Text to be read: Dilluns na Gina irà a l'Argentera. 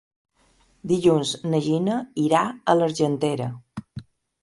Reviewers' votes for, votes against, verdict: 3, 0, accepted